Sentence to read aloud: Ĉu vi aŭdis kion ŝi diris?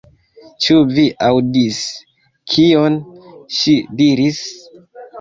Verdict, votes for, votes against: accepted, 2, 0